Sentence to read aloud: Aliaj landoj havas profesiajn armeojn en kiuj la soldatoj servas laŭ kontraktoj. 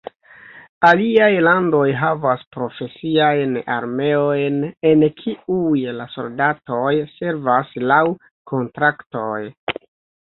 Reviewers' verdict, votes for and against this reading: accepted, 2, 0